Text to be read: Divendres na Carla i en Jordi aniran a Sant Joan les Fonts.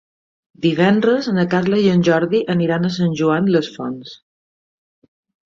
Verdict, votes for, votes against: accepted, 3, 0